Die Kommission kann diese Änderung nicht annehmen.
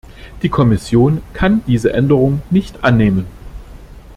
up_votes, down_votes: 2, 1